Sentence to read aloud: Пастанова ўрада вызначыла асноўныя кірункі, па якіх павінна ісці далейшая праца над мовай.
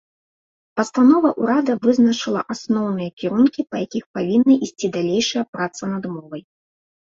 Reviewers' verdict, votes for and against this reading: accepted, 2, 0